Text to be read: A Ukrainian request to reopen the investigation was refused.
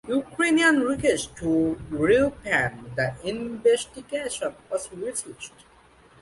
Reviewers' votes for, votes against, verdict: 2, 1, accepted